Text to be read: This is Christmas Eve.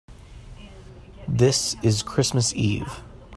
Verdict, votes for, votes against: accepted, 3, 0